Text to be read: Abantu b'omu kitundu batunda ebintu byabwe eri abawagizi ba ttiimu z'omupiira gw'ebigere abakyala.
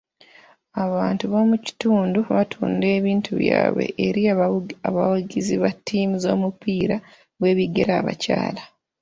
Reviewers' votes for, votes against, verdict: 3, 0, accepted